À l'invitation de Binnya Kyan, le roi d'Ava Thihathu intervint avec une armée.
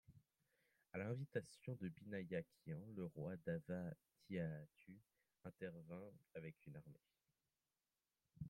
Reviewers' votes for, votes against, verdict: 1, 2, rejected